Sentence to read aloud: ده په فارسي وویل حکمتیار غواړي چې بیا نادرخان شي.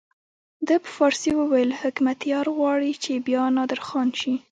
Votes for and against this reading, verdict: 2, 0, accepted